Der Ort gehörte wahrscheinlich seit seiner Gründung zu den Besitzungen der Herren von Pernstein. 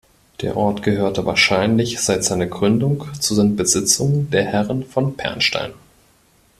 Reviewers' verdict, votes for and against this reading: rejected, 1, 2